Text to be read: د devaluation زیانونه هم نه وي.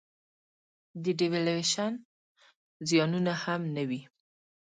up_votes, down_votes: 3, 1